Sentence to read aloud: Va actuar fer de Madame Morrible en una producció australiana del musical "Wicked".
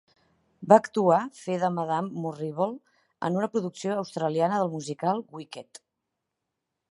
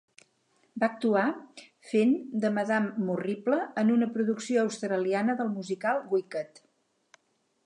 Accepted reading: first